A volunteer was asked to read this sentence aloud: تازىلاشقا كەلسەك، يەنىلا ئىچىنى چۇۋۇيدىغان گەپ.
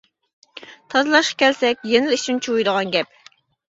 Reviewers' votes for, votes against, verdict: 2, 1, accepted